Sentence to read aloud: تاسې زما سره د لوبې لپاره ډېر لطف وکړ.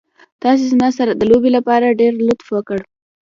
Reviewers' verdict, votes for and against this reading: accepted, 2, 1